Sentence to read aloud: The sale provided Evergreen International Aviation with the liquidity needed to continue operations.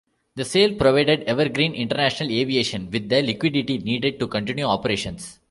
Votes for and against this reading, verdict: 0, 2, rejected